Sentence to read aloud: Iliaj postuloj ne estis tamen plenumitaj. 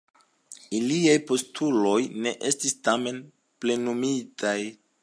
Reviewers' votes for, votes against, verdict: 2, 0, accepted